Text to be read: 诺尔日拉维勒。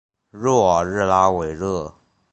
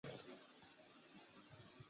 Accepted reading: first